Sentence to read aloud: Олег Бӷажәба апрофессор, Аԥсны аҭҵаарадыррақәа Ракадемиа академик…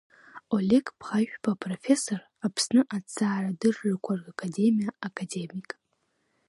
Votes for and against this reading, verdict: 2, 1, accepted